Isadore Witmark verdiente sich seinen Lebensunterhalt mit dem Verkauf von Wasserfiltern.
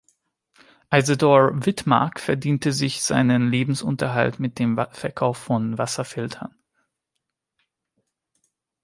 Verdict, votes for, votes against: rejected, 0, 2